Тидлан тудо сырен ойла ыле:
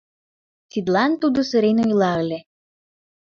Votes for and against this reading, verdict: 0, 2, rejected